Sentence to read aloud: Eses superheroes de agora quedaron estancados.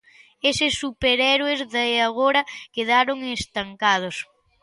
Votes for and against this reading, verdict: 1, 3, rejected